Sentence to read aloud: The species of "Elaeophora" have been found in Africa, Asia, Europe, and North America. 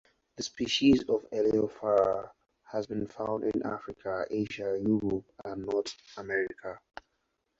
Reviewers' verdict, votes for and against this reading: accepted, 4, 2